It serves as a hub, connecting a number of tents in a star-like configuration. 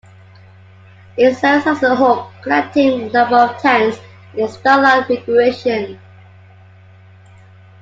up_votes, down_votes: 0, 2